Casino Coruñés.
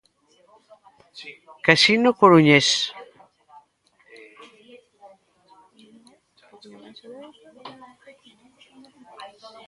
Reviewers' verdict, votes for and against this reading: accepted, 2, 1